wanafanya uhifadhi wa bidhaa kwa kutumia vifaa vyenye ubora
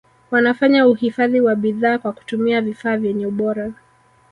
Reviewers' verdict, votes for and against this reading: accepted, 3, 1